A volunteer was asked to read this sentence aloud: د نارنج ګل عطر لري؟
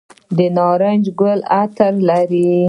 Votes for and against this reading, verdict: 1, 2, rejected